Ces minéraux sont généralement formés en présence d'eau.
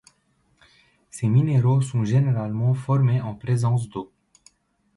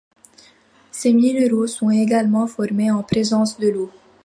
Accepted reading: first